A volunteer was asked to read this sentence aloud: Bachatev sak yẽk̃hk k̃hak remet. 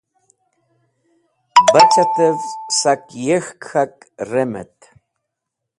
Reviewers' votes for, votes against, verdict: 1, 2, rejected